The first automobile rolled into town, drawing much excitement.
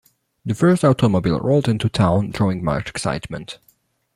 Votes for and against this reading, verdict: 2, 0, accepted